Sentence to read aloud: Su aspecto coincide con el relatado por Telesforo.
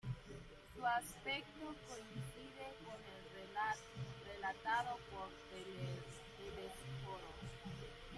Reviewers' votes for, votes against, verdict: 0, 2, rejected